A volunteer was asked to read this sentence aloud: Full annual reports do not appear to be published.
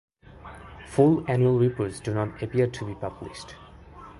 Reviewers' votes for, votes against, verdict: 2, 1, accepted